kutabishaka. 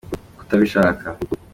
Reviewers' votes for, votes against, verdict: 2, 0, accepted